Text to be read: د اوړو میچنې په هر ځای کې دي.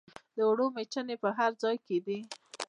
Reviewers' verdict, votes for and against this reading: rejected, 0, 2